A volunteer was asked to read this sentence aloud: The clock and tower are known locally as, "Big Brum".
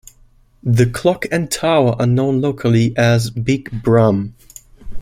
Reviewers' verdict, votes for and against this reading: accepted, 2, 0